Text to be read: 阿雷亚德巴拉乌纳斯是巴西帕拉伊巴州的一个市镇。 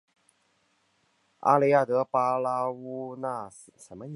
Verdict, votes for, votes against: rejected, 1, 2